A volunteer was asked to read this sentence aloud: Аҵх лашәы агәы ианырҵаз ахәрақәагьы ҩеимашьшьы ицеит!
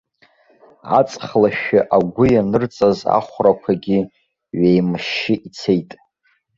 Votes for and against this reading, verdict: 2, 0, accepted